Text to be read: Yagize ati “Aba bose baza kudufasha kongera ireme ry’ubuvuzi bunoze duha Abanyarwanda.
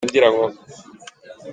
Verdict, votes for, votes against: rejected, 0, 2